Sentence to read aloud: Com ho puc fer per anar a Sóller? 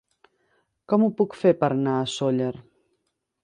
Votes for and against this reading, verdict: 3, 0, accepted